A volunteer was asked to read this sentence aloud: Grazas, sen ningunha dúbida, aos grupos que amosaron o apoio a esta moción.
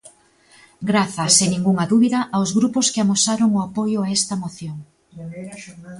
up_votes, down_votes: 1, 2